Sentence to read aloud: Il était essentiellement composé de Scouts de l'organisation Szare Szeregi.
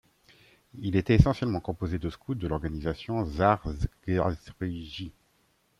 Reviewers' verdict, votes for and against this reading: accepted, 2, 1